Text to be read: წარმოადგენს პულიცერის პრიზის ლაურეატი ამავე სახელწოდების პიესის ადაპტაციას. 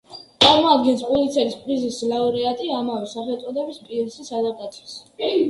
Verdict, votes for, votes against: rejected, 1, 2